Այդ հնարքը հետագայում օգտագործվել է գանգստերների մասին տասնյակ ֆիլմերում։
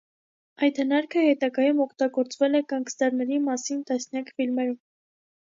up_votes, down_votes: 2, 0